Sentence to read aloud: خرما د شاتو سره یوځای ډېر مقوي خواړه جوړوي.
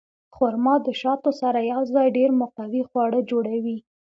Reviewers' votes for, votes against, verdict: 2, 0, accepted